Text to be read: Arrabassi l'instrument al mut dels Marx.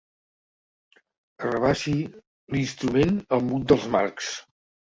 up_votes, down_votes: 3, 1